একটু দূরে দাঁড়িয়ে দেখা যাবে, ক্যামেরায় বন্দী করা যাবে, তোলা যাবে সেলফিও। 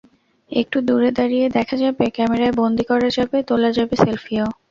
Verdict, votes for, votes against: accepted, 2, 0